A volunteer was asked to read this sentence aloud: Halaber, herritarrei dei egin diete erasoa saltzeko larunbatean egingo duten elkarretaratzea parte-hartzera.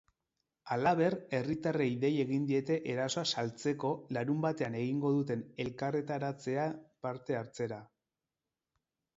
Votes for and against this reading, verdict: 4, 0, accepted